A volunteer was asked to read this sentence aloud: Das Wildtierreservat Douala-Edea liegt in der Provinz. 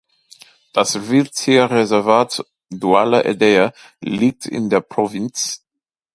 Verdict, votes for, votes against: accepted, 2, 0